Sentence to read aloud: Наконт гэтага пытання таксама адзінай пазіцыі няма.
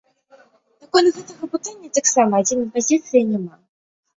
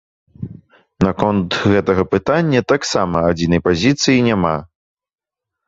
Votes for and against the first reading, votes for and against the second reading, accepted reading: 1, 2, 2, 0, second